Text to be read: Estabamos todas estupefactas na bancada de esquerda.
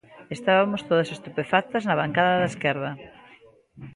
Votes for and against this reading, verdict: 1, 2, rejected